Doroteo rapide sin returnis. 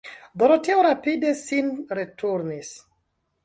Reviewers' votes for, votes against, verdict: 1, 2, rejected